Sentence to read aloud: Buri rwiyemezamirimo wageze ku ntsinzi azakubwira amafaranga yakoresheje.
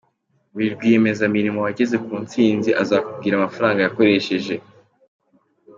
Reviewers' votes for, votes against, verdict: 2, 1, accepted